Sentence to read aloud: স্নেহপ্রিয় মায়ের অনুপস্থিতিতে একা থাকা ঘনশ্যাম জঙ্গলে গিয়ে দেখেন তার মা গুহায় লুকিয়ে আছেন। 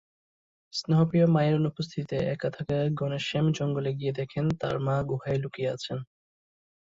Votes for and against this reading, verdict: 2, 0, accepted